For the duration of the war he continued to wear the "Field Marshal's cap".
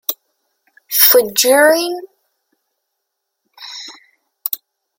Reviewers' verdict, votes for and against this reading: rejected, 0, 2